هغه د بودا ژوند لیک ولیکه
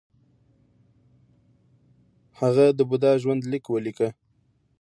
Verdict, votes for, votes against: accepted, 2, 0